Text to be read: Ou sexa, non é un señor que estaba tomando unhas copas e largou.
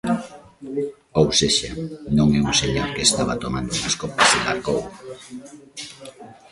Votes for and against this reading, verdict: 1, 2, rejected